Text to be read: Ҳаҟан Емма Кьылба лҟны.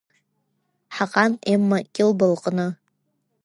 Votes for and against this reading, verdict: 0, 2, rejected